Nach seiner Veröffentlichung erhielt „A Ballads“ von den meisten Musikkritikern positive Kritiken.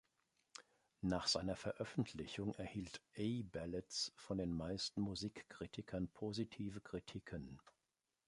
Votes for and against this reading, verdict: 2, 0, accepted